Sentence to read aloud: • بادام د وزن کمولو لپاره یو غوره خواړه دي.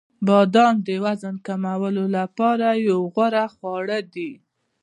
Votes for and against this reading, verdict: 1, 2, rejected